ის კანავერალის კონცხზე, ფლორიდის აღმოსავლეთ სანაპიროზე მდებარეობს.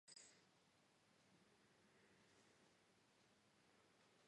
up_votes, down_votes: 1, 2